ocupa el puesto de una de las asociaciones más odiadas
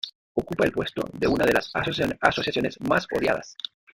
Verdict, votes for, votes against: accepted, 2, 1